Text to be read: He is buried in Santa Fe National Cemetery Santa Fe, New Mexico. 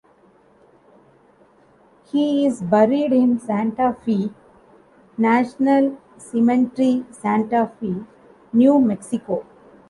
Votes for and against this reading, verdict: 0, 2, rejected